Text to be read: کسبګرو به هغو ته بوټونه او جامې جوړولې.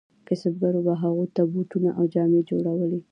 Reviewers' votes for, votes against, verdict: 2, 1, accepted